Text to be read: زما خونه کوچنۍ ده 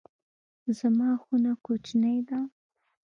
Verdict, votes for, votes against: accepted, 2, 0